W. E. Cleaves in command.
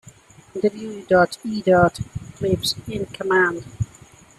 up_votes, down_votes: 2, 1